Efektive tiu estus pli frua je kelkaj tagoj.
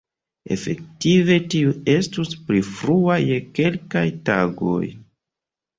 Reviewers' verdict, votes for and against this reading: accepted, 2, 0